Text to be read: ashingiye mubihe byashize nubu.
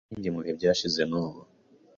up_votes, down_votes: 2, 0